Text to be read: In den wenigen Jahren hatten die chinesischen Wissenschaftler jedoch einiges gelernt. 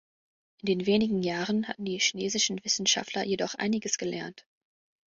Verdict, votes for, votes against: rejected, 0, 2